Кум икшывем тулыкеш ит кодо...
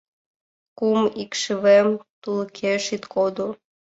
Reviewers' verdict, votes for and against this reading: accepted, 2, 0